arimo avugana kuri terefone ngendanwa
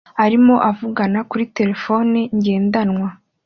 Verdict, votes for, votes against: accepted, 2, 0